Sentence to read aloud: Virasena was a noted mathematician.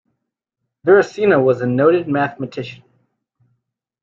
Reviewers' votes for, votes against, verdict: 2, 0, accepted